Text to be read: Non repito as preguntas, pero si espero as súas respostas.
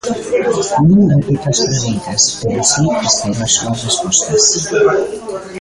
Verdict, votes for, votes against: rejected, 0, 2